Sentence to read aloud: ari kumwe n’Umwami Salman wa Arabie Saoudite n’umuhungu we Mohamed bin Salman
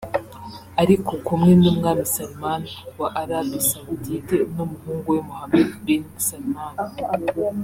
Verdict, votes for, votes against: rejected, 2, 3